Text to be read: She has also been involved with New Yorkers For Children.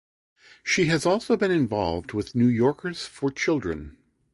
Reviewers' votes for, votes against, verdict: 2, 0, accepted